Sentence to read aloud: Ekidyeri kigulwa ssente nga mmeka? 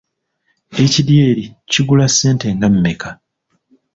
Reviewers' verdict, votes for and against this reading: rejected, 1, 2